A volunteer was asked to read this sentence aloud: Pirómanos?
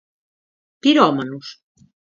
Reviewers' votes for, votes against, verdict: 4, 0, accepted